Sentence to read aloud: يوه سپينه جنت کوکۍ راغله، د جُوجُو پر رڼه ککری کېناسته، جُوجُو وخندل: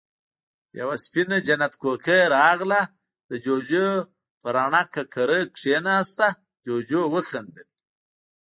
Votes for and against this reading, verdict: 1, 2, rejected